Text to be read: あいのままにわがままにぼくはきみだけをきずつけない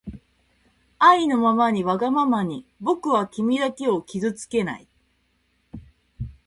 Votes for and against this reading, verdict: 2, 0, accepted